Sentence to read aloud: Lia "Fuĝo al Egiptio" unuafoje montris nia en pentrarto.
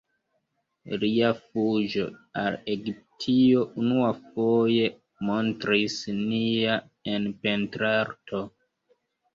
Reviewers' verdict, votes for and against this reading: accepted, 2, 0